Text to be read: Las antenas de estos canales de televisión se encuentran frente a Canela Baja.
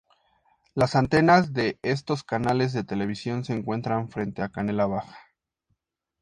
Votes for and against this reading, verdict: 2, 0, accepted